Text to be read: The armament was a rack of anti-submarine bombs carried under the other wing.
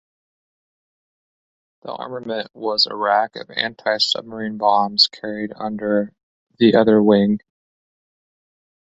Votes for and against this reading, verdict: 2, 1, accepted